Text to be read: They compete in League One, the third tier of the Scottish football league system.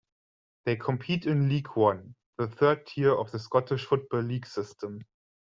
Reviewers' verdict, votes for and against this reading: accepted, 2, 0